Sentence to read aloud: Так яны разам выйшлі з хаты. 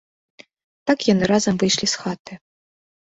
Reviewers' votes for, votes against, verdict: 2, 0, accepted